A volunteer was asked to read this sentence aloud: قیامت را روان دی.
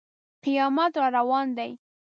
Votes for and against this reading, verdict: 2, 0, accepted